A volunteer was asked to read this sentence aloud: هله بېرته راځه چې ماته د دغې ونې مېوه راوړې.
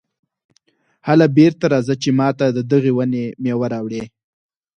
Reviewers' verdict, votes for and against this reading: accepted, 4, 0